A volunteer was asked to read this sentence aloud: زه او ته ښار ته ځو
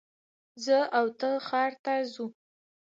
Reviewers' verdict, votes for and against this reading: rejected, 1, 2